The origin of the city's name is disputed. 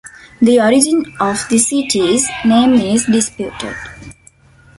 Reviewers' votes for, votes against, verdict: 0, 2, rejected